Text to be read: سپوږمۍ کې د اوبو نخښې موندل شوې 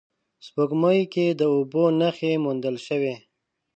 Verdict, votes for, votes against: accepted, 2, 1